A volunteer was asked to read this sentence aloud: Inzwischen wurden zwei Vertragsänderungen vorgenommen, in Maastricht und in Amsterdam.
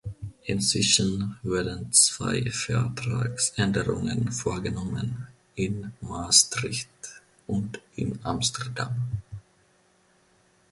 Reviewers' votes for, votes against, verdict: 1, 2, rejected